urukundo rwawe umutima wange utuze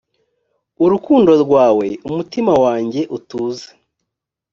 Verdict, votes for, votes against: accepted, 2, 0